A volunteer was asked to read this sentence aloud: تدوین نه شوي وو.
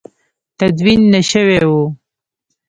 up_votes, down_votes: 1, 2